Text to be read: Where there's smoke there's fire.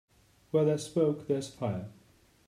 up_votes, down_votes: 0, 2